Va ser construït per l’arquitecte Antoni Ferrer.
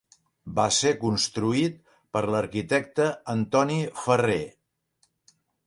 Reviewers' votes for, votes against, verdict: 3, 0, accepted